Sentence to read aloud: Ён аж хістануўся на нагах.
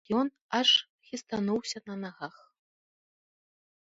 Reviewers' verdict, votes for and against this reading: accepted, 2, 0